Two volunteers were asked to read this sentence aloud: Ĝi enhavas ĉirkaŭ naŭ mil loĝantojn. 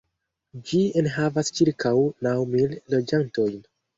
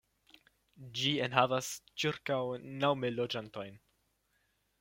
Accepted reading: second